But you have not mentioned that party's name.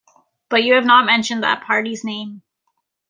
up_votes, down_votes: 2, 0